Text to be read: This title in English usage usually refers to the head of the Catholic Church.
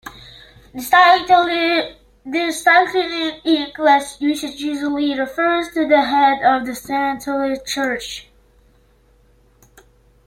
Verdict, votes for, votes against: rejected, 1, 2